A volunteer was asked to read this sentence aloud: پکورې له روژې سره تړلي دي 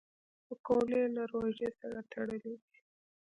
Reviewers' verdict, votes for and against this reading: accepted, 2, 1